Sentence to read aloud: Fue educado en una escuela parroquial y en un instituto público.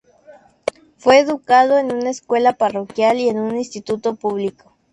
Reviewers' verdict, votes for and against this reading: accepted, 2, 0